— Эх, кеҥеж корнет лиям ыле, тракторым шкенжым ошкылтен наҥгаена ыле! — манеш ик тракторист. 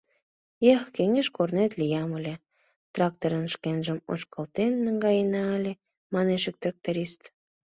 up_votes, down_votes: 2, 0